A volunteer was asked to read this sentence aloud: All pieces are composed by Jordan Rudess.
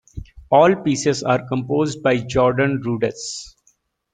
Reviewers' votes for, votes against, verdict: 1, 2, rejected